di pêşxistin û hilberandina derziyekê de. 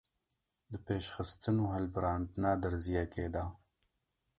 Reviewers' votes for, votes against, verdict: 0, 2, rejected